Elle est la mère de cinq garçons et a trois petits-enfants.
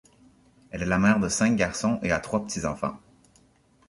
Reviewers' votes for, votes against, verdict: 2, 1, accepted